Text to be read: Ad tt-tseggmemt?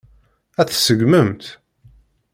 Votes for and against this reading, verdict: 2, 1, accepted